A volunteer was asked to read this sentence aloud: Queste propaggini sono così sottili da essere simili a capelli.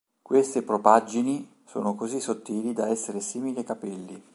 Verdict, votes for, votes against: accepted, 2, 0